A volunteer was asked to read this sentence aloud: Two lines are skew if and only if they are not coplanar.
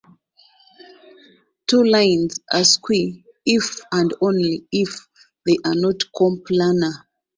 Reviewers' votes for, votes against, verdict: 0, 2, rejected